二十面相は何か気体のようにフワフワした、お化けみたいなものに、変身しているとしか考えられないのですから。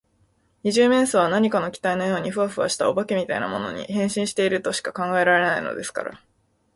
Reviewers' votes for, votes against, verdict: 13, 1, accepted